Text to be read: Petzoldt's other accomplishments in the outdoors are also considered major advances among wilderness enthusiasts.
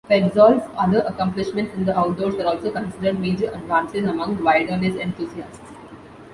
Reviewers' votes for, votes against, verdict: 0, 2, rejected